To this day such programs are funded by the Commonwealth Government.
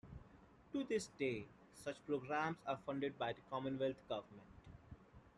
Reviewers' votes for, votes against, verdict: 2, 0, accepted